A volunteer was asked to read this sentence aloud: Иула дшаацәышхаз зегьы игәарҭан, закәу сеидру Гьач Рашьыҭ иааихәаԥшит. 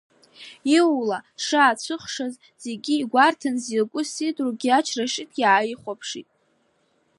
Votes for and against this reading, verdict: 1, 2, rejected